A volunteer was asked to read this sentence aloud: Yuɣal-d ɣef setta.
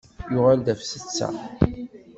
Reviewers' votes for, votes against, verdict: 2, 0, accepted